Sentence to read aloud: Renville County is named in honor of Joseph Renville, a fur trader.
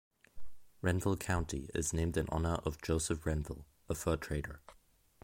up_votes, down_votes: 2, 0